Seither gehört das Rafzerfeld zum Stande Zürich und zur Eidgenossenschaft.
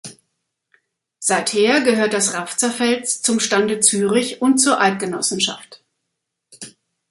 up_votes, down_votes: 2, 0